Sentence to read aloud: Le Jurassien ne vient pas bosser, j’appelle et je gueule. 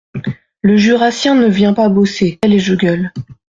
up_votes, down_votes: 0, 2